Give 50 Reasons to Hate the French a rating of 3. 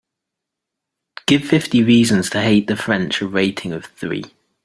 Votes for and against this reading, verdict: 0, 2, rejected